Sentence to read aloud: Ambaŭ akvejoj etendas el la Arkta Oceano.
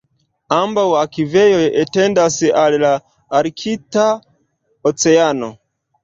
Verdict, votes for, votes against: accepted, 2, 0